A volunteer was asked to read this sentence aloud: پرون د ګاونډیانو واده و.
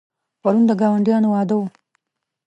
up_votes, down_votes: 2, 0